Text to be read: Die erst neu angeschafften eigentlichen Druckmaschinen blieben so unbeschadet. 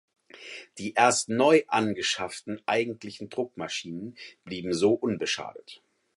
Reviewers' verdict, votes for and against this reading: accepted, 4, 0